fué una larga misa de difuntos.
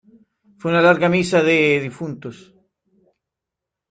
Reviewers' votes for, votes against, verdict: 2, 1, accepted